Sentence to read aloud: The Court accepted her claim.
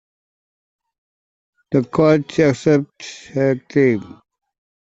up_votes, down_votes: 0, 2